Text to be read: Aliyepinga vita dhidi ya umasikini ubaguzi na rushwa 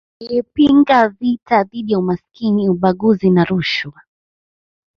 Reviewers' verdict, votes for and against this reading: rejected, 1, 2